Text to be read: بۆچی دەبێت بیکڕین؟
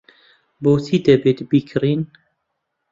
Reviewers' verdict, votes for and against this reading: accepted, 2, 0